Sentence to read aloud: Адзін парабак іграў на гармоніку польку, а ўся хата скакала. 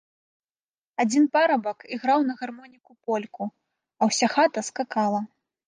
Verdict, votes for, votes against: rejected, 1, 2